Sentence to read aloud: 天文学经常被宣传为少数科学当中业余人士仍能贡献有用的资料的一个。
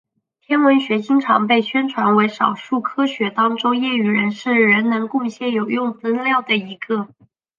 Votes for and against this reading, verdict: 3, 0, accepted